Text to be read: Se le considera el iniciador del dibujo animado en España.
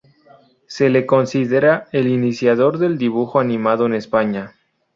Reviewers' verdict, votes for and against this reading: accepted, 2, 0